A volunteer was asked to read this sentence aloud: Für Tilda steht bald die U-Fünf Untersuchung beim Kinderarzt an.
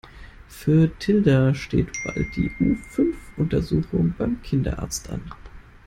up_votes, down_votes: 2, 0